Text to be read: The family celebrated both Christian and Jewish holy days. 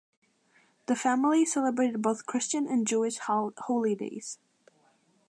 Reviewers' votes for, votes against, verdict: 1, 2, rejected